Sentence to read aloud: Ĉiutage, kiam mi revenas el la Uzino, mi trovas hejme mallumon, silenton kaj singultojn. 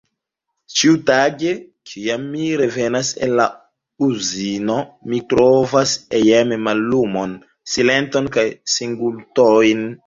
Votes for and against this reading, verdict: 0, 2, rejected